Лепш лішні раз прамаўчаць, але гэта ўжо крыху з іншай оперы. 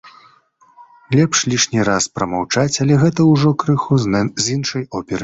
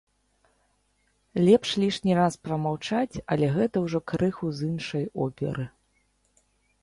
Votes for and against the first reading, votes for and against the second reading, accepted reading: 0, 2, 2, 0, second